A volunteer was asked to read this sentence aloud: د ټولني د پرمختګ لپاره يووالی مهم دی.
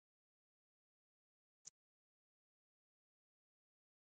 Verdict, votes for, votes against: rejected, 1, 2